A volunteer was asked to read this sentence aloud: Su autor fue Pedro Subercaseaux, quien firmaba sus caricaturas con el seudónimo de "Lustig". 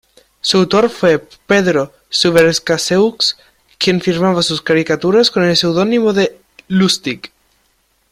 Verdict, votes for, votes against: accepted, 2, 1